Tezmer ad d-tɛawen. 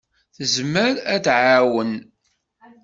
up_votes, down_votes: 1, 2